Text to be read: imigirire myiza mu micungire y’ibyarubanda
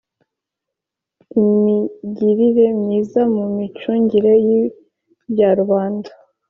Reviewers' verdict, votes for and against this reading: accepted, 2, 0